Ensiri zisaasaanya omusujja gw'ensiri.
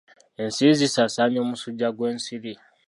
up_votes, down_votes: 2, 0